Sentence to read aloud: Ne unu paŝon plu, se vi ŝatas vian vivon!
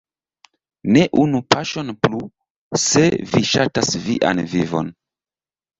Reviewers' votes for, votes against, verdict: 2, 0, accepted